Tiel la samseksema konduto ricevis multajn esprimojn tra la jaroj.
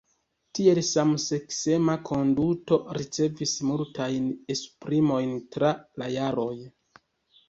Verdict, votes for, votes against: rejected, 0, 2